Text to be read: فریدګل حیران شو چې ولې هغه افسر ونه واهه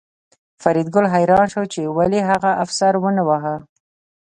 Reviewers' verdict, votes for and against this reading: accepted, 2, 0